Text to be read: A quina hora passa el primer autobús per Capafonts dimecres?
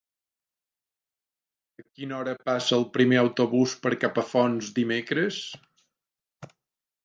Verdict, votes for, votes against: rejected, 1, 2